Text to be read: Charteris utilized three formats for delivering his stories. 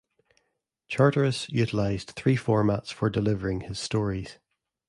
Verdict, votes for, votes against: accepted, 2, 0